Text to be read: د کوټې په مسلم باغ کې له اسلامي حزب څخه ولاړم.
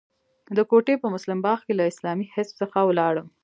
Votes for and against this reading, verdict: 3, 0, accepted